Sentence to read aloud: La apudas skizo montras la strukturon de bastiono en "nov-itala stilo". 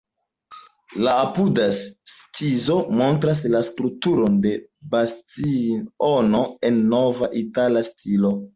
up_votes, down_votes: 2, 0